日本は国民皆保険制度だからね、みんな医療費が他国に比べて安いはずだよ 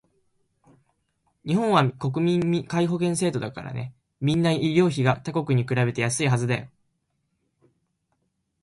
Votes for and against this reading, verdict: 1, 2, rejected